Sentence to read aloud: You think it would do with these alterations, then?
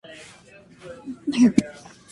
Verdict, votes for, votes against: rejected, 0, 2